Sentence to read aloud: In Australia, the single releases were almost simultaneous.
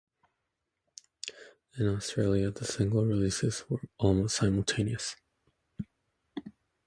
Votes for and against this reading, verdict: 2, 0, accepted